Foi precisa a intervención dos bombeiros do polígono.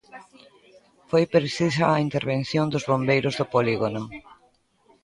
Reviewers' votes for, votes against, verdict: 1, 2, rejected